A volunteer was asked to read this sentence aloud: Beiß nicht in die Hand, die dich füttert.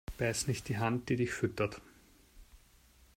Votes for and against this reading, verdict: 0, 2, rejected